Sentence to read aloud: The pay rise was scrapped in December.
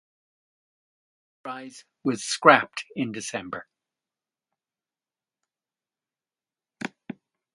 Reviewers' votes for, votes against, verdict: 0, 2, rejected